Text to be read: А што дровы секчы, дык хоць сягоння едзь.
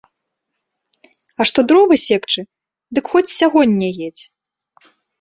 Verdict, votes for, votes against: accepted, 3, 0